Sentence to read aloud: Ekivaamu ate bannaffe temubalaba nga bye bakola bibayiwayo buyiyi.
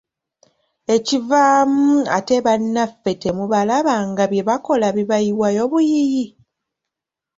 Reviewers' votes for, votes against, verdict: 2, 1, accepted